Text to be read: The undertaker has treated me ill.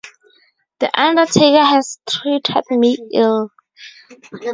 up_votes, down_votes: 2, 4